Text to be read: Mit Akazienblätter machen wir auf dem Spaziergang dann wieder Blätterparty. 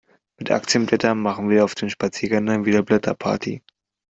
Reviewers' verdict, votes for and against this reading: rejected, 0, 2